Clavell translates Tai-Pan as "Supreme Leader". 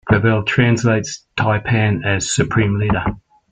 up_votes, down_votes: 2, 0